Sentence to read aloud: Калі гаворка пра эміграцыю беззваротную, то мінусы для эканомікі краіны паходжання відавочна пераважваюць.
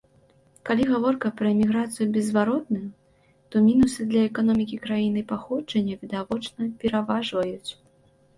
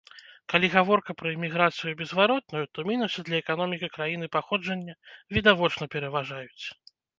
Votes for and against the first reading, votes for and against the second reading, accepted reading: 2, 0, 1, 2, first